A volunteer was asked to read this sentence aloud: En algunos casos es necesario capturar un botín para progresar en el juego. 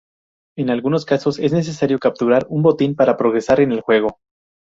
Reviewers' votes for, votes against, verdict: 4, 0, accepted